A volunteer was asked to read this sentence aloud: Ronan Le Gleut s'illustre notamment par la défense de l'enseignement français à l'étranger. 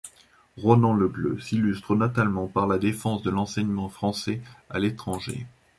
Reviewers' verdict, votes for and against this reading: accepted, 2, 1